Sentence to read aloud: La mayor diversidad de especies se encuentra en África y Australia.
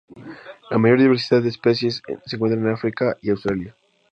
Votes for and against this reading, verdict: 0, 2, rejected